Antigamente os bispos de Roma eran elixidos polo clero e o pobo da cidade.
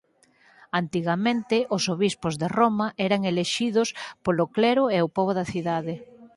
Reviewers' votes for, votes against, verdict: 0, 4, rejected